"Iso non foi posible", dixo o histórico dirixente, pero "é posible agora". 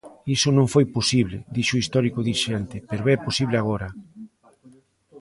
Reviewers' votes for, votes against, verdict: 2, 1, accepted